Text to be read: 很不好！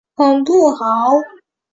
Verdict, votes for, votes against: accepted, 2, 0